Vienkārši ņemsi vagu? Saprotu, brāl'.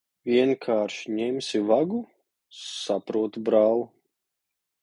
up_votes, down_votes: 2, 0